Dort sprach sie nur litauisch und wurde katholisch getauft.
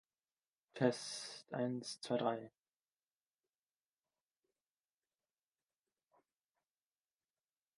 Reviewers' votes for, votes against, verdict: 0, 2, rejected